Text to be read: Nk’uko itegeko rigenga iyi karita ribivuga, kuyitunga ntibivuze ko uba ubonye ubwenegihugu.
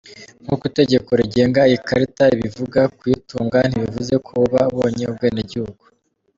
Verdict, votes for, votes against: accepted, 3, 0